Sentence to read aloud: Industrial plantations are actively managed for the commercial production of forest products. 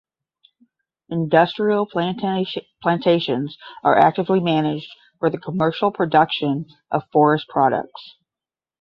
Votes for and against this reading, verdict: 0, 10, rejected